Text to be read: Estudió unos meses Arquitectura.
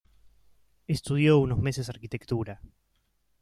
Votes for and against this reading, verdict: 2, 0, accepted